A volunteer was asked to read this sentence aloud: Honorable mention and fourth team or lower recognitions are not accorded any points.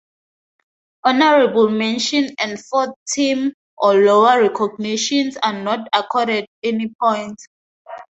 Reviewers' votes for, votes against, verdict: 2, 0, accepted